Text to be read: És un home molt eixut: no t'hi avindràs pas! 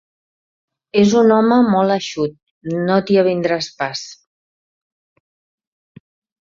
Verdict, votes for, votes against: accepted, 2, 0